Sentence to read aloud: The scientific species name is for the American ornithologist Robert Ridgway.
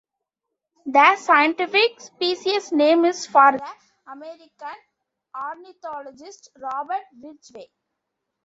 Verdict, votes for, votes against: rejected, 0, 2